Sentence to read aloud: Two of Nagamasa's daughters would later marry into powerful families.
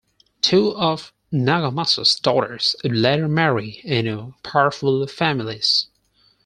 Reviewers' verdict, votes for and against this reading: rejected, 2, 6